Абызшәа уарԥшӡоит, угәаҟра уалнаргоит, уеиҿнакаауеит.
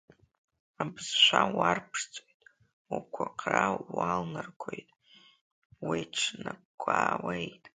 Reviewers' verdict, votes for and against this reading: rejected, 0, 2